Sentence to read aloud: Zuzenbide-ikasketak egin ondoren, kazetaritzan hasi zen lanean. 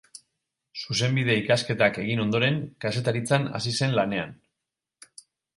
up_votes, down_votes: 4, 0